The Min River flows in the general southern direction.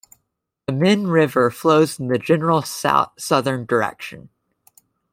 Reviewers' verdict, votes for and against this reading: rejected, 0, 2